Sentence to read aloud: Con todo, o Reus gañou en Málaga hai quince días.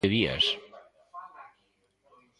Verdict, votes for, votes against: rejected, 0, 2